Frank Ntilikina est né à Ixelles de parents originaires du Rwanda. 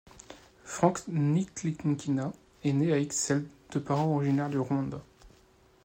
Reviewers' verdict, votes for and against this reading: rejected, 1, 2